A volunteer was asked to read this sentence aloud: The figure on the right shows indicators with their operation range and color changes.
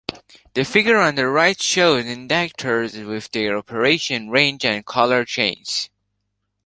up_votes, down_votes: 0, 2